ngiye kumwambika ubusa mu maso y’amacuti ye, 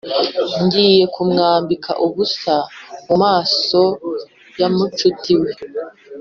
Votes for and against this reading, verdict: 1, 2, rejected